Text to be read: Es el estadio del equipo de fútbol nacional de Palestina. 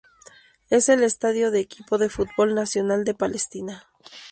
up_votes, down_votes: 0, 2